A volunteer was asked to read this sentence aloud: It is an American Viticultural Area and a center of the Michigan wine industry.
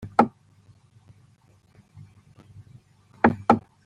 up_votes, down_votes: 1, 2